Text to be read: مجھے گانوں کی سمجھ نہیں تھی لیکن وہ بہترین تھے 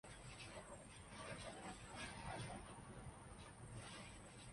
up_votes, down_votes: 0, 2